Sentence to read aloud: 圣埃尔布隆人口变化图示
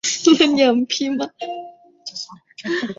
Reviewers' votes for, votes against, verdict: 1, 3, rejected